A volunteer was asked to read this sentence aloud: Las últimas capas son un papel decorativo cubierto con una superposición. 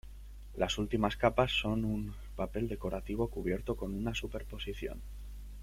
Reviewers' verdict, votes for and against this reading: rejected, 1, 2